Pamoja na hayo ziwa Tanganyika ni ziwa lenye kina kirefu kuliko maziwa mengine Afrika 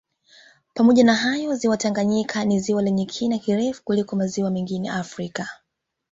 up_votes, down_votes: 1, 2